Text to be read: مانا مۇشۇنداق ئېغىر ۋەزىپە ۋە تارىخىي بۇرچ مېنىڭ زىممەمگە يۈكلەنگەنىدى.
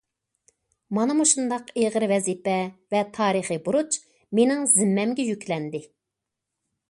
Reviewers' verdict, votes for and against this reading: rejected, 1, 2